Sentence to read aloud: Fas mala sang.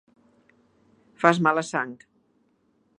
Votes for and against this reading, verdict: 2, 0, accepted